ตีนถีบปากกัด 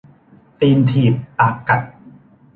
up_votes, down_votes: 2, 0